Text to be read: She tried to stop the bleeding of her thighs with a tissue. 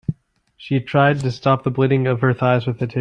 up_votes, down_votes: 0, 2